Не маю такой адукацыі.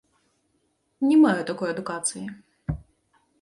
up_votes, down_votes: 2, 0